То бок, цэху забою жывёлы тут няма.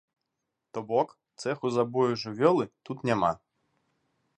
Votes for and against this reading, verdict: 2, 1, accepted